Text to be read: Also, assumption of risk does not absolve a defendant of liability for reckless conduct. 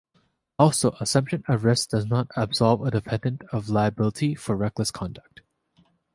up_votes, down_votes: 2, 1